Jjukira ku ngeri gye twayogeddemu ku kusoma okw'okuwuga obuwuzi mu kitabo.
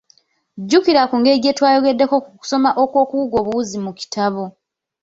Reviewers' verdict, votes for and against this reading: accepted, 2, 1